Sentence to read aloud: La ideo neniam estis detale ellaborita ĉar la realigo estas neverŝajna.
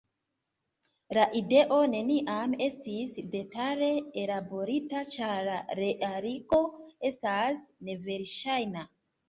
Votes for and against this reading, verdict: 0, 2, rejected